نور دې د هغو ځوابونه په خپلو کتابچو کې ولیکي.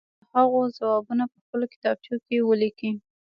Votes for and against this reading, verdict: 2, 0, accepted